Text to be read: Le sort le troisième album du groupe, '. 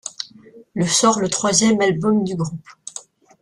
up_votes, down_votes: 2, 0